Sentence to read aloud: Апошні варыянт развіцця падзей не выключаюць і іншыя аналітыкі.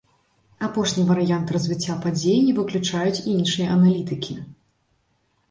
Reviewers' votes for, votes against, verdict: 3, 0, accepted